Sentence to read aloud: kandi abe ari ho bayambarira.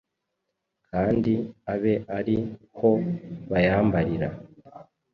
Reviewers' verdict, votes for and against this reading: rejected, 0, 2